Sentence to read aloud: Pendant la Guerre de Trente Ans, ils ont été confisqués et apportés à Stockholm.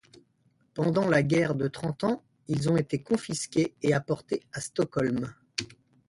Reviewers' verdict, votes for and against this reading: accepted, 2, 0